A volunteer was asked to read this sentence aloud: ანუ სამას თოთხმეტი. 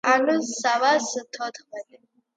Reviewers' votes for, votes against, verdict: 2, 0, accepted